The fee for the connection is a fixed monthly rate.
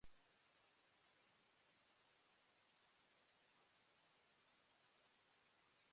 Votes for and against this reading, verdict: 0, 2, rejected